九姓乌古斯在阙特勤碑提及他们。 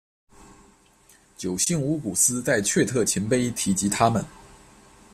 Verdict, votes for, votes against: accepted, 2, 0